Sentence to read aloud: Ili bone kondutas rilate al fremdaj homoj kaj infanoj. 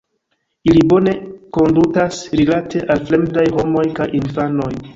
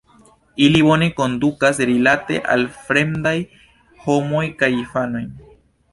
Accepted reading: first